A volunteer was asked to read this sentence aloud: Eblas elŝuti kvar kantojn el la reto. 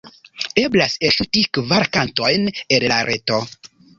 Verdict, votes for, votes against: rejected, 1, 2